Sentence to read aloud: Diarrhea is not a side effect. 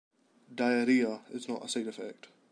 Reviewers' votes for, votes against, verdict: 2, 0, accepted